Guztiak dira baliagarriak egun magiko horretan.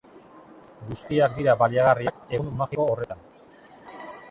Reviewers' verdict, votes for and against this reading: rejected, 1, 2